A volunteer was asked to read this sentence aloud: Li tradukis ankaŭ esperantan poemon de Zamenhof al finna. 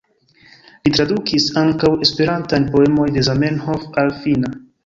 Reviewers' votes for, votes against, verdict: 2, 0, accepted